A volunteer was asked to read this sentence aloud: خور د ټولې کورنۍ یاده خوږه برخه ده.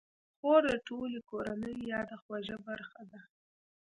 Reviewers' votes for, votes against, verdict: 0, 2, rejected